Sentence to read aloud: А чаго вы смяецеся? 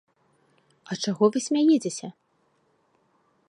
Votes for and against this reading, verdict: 1, 2, rejected